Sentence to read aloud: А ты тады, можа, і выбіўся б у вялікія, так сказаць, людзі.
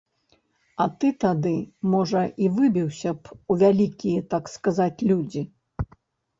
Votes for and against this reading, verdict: 2, 0, accepted